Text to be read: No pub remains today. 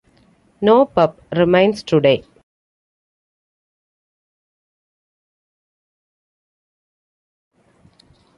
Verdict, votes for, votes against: rejected, 1, 2